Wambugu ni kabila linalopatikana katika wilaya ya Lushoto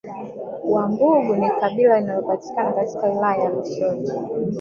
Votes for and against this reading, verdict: 1, 2, rejected